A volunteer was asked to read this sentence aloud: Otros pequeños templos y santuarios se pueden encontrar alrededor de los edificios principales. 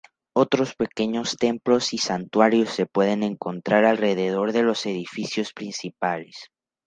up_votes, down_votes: 2, 0